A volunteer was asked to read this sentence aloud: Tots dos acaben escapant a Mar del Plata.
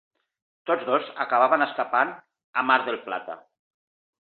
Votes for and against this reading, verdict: 1, 2, rejected